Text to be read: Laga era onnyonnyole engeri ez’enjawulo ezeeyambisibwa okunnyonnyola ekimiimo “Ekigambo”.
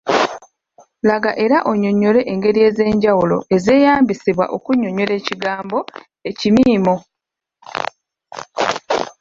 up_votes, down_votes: 0, 2